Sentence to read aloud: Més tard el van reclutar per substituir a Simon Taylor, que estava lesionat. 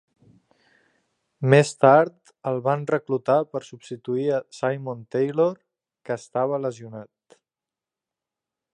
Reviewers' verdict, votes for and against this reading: accepted, 3, 0